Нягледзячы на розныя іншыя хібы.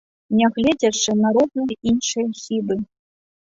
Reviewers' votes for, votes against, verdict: 1, 2, rejected